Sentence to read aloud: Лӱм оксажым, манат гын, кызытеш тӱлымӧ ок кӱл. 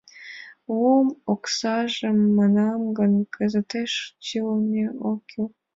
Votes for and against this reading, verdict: 1, 4, rejected